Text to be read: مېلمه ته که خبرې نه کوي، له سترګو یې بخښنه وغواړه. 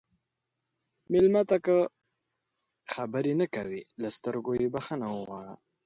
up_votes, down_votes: 2, 0